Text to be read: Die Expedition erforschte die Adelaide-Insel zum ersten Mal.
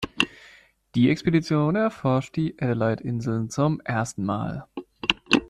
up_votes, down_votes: 0, 2